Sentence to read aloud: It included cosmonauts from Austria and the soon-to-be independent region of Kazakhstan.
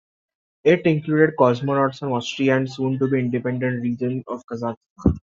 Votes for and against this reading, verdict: 0, 2, rejected